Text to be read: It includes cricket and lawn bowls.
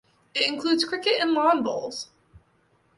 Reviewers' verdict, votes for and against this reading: accepted, 2, 0